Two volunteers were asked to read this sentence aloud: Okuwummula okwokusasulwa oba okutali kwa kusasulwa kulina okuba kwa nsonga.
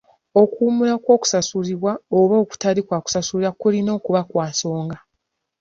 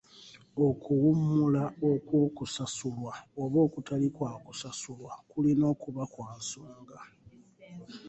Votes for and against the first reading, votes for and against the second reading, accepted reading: 1, 2, 2, 0, second